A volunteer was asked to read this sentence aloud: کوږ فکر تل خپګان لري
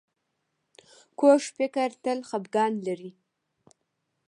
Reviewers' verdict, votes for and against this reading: accepted, 2, 0